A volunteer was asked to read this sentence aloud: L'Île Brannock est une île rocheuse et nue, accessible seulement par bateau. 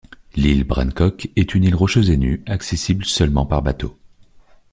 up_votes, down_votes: 1, 2